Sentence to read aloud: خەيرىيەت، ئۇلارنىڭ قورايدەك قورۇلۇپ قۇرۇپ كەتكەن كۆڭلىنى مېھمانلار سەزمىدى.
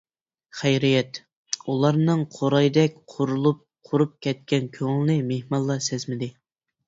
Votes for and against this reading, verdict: 0, 2, rejected